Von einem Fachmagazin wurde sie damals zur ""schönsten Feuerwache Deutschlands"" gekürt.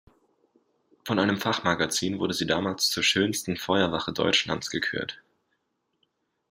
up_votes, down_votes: 2, 0